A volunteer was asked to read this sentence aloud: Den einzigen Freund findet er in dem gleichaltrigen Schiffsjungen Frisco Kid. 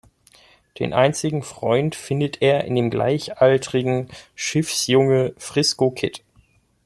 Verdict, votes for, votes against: rejected, 1, 3